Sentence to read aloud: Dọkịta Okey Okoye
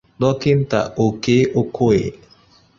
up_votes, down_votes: 2, 0